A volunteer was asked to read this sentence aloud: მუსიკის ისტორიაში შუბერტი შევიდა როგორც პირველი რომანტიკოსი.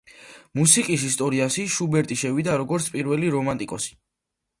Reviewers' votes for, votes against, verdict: 2, 0, accepted